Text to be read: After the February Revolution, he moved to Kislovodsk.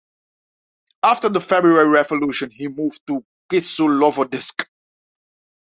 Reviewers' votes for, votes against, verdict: 0, 2, rejected